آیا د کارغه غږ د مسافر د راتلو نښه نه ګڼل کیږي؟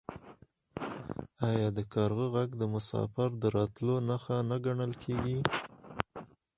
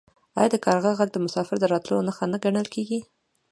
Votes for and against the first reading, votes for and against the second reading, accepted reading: 2, 4, 2, 0, second